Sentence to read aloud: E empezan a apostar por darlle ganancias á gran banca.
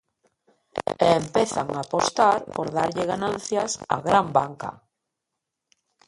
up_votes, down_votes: 1, 2